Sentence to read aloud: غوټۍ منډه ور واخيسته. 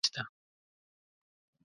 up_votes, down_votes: 0, 2